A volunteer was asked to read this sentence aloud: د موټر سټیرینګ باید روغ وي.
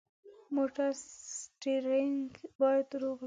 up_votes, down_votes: 1, 2